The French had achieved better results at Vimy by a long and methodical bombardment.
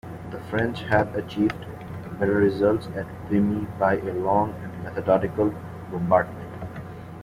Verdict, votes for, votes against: rejected, 0, 2